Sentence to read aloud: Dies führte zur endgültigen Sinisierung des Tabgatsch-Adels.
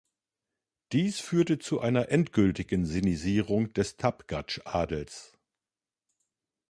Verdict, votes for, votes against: rejected, 1, 2